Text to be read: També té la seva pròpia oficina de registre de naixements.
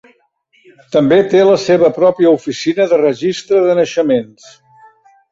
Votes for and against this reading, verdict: 2, 0, accepted